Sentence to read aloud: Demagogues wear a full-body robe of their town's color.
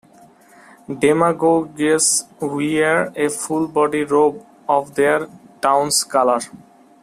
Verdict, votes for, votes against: rejected, 0, 2